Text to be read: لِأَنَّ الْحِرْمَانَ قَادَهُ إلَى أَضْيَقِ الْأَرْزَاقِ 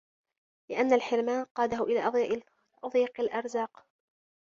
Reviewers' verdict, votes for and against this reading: rejected, 1, 2